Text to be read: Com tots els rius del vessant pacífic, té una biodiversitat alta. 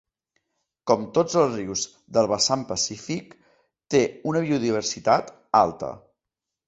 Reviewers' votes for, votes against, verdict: 2, 0, accepted